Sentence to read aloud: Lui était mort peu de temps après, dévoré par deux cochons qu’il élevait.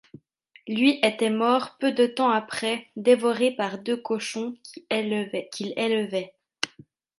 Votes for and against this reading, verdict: 1, 2, rejected